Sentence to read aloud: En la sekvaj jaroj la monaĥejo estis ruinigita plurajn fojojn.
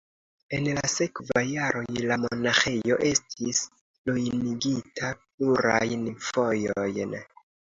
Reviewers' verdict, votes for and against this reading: accepted, 2, 0